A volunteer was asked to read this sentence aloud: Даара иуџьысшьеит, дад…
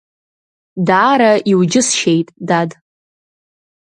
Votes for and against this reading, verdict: 2, 1, accepted